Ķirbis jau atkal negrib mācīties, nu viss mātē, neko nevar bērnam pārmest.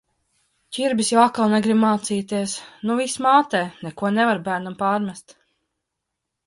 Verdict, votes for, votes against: accepted, 3, 0